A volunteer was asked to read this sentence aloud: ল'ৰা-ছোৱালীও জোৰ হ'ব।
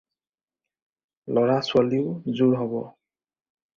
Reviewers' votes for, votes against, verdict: 4, 0, accepted